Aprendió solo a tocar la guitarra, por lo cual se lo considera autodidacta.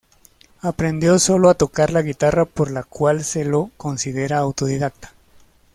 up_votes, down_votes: 0, 2